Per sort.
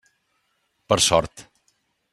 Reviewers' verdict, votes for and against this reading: accepted, 3, 0